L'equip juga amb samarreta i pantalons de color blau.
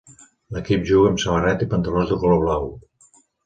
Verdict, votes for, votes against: accepted, 2, 0